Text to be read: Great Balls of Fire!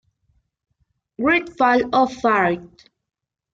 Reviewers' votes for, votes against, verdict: 0, 2, rejected